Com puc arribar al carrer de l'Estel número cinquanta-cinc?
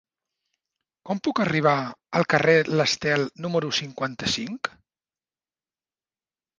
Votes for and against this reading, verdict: 1, 2, rejected